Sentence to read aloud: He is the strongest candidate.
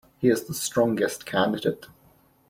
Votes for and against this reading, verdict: 2, 0, accepted